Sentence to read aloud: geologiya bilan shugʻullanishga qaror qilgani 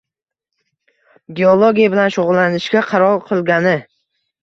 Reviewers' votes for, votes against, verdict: 2, 0, accepted